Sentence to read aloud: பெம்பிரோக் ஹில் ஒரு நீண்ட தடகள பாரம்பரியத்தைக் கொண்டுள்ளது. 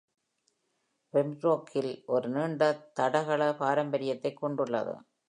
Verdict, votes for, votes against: accepted, 2, 0